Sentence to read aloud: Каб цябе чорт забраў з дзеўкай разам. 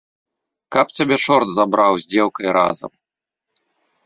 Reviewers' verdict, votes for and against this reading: accepted, 2, 0